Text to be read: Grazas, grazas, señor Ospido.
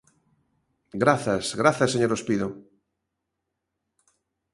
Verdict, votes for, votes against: accepted, 2, 0